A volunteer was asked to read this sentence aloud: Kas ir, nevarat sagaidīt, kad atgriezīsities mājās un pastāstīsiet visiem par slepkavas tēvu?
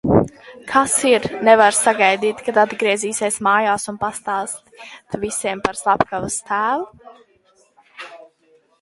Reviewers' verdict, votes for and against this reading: rejected, 0, 2